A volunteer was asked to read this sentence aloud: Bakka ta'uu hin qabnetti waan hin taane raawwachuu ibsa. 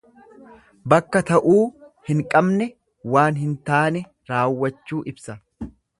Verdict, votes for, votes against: rejected, 1, 2